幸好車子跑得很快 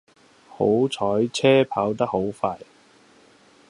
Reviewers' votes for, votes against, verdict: 0, 2, rejected